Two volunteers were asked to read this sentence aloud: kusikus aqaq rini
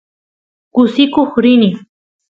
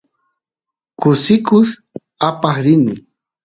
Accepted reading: second